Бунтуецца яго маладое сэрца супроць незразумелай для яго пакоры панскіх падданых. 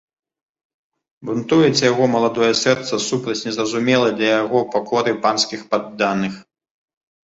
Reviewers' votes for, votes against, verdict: 1, 2, rejected